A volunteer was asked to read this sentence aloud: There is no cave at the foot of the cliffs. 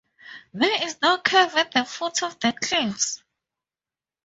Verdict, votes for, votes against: accepted, 2, 0